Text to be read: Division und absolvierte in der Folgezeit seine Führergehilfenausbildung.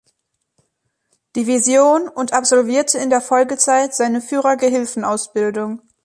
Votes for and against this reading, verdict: 2, 0, accepted